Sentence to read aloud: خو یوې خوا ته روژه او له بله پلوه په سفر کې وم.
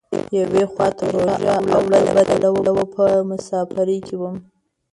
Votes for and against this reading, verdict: 0, 2, rejected